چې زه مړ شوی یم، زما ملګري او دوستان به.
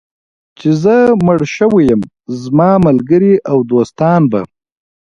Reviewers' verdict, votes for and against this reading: accepted, 2, 0